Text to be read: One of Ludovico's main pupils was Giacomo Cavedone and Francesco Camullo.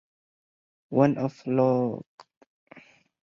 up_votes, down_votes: 0, 4